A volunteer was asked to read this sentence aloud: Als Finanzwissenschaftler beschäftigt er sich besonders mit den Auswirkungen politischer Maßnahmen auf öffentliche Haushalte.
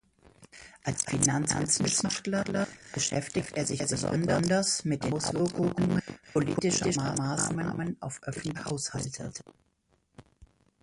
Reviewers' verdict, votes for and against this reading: rejected, 0, 2